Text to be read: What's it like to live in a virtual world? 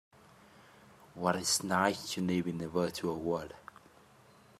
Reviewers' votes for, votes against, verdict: 1, 2, rejected